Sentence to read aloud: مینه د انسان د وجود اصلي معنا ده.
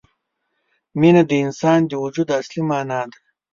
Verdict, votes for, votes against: accepted, 2, 0